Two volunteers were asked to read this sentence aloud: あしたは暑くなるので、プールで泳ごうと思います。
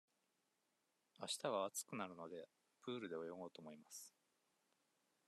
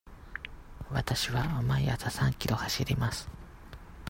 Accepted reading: first